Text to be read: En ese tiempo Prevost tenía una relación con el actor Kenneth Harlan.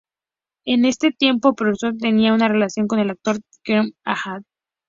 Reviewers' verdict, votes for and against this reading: accepted, 2, 0